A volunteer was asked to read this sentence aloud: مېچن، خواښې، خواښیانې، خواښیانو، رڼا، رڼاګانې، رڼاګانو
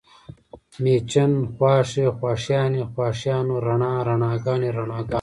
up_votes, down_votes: 2, 0